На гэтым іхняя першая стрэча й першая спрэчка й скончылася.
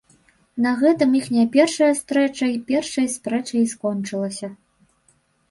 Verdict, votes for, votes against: rejected, 0, 2